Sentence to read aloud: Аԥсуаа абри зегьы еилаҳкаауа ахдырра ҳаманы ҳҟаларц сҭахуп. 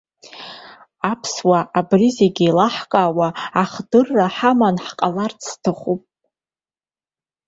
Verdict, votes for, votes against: accepted, 2, 0